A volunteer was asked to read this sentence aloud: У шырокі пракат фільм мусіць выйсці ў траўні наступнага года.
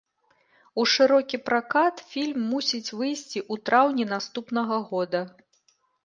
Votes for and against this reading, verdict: 1, 2, rejected